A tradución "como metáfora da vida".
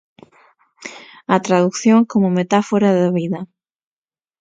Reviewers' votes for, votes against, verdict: 0, 6, rejected